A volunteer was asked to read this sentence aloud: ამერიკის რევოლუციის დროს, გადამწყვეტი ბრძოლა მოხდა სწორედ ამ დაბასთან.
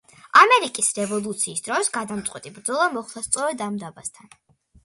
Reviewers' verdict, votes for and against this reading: accepted, 2, 0